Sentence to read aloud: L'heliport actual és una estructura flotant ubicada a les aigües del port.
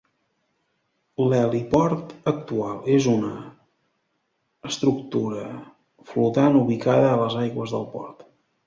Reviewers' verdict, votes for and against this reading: rejected, 1, 2